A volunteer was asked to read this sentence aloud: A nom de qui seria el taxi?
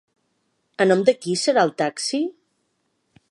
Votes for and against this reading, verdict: 1, 2, rejected